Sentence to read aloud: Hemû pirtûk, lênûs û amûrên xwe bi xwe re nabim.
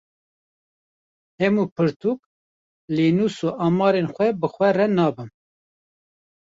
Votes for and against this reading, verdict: 1, 2, rejected